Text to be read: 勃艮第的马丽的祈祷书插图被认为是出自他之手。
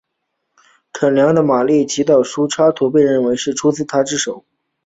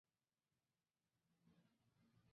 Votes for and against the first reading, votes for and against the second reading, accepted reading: 2, 0, 1, 3, first